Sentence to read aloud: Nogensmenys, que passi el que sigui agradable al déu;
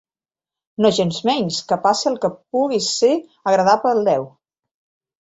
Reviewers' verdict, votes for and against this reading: rejected, 1, 2